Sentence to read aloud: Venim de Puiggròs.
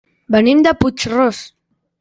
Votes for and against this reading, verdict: 1, 2, rejected